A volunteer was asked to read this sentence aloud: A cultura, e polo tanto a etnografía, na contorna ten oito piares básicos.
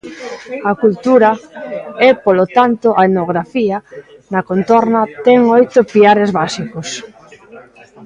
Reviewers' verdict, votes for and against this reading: accepted, 2, 0